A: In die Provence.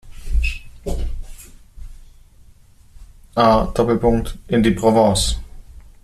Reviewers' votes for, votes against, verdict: 0, 2, rejected